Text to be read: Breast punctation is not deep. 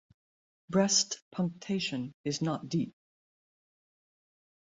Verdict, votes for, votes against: accepted, 2, 0